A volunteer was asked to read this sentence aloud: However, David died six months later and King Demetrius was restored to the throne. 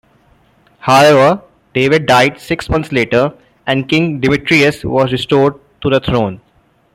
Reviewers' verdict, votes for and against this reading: rejected, 1, 2